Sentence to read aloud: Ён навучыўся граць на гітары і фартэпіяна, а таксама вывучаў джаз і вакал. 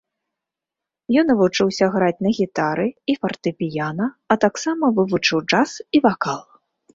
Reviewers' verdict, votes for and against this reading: rejected, 1, 2